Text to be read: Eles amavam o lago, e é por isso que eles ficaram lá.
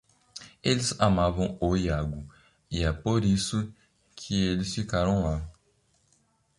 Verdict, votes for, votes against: rejected, 0, 2